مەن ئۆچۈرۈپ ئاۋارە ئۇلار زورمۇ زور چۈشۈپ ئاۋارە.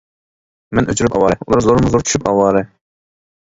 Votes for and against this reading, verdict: 2, 1, accepted